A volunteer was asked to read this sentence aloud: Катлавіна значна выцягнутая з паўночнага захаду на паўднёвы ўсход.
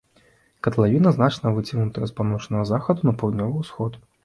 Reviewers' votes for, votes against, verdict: 2, 0, accepted